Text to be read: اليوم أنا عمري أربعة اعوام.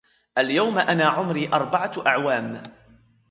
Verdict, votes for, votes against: accepted, 2, 0